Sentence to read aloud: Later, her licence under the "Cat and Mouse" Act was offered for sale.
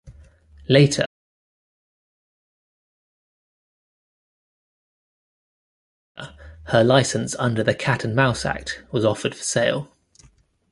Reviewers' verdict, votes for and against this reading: rejected, 0, 2